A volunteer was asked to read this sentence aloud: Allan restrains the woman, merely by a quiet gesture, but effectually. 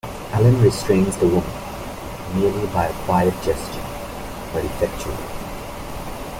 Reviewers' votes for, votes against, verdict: 1, 2, rejected